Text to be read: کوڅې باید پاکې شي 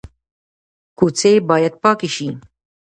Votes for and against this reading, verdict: 2, 0, accepted